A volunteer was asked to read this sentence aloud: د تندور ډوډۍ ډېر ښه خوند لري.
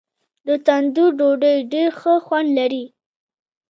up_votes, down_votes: 1, 2